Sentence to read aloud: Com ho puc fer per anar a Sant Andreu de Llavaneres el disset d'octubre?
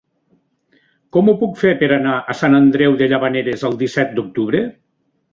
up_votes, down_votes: 3, 0